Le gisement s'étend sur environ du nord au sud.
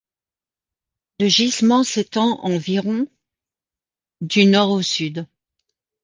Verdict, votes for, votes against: rejected, 0, 2